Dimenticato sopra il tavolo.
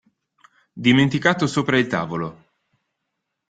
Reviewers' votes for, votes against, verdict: 2, 0, accepted